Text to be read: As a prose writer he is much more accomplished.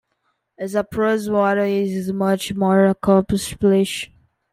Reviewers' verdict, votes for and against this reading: rejected, 0, 3